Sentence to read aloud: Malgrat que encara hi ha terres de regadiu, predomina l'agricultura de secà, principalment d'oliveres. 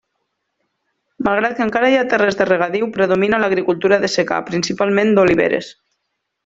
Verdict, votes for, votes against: accepted, 3, 0